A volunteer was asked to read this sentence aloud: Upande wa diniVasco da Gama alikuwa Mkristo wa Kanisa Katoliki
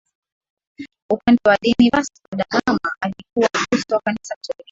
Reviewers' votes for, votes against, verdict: 0, 2, rejected